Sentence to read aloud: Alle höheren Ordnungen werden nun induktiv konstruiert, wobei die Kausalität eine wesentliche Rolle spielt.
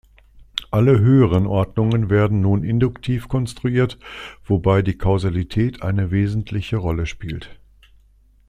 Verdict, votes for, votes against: accepted, 2, 0